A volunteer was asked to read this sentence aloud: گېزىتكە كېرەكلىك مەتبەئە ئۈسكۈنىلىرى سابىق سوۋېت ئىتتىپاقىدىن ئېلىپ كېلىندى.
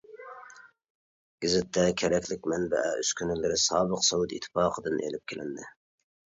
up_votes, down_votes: 1, 2